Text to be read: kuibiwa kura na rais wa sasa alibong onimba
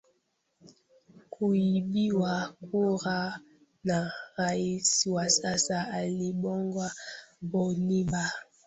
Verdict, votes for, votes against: rejected, 1, 3